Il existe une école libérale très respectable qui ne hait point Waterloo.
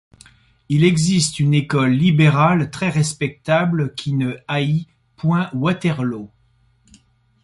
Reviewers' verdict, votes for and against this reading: rejected, 0, 2